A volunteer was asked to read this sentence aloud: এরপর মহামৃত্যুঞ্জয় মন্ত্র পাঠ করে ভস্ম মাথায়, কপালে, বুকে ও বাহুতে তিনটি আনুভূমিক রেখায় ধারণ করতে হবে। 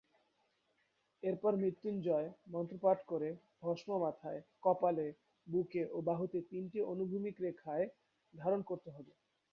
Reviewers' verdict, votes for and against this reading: rejected, 1, 3